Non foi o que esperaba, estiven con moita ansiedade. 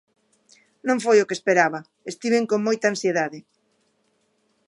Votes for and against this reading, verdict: 2, 0, accepted